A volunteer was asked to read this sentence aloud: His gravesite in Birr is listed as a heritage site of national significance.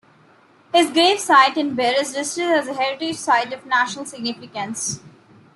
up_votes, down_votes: 2, 0